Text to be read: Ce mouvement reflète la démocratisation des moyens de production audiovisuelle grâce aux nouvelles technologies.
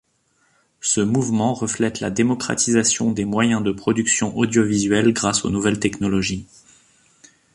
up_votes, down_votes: 2, 0